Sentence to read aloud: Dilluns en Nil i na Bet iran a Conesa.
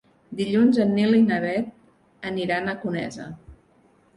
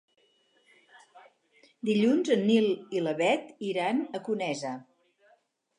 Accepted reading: second